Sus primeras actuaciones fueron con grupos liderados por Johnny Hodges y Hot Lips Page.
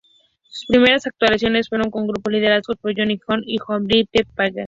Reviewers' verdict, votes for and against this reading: rejected, 0, 2